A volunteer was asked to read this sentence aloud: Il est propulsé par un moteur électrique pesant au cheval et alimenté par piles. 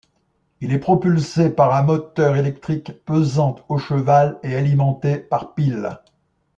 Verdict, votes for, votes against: accepted, 2, 0